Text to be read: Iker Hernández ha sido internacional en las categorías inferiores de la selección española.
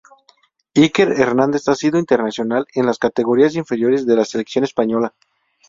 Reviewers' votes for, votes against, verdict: 6, 0, accepted